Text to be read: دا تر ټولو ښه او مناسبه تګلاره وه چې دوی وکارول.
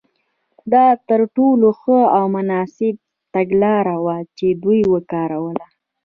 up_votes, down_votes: 1, 2